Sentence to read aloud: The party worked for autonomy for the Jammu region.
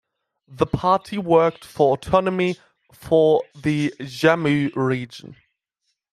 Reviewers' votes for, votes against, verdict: 2, 0, accepted